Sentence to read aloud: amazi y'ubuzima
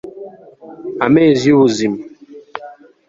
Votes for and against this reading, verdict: 0, 2, rejected